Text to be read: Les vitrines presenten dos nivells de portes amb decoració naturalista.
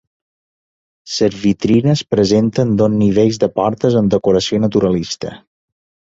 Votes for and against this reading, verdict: 0, 2, rejected